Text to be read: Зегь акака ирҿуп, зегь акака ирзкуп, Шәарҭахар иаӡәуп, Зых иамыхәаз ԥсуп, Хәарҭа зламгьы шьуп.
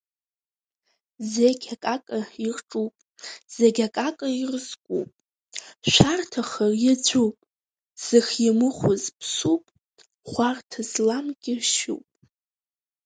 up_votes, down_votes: 2, 4